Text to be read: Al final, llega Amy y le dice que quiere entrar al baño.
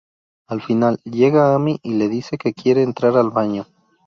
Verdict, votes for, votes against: rejected, 0, 2